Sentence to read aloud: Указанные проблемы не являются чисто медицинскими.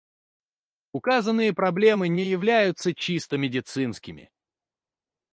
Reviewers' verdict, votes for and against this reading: rejected, 2, 2